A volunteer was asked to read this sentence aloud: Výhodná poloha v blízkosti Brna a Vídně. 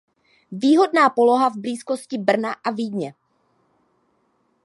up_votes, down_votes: 2, 0